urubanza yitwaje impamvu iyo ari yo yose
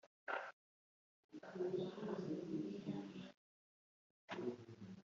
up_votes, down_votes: 0, 2